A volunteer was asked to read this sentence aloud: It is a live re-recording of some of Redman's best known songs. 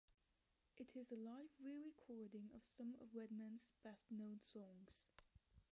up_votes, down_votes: 2, 1